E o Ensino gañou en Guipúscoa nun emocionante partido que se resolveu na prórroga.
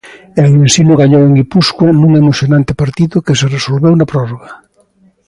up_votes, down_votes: 2, 0